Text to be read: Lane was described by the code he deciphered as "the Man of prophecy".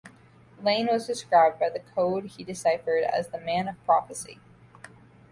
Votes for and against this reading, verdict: 2, 0, accepted